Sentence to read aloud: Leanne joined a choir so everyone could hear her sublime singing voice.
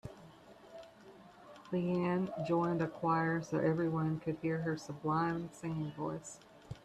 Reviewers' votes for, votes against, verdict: 2, 0, accepted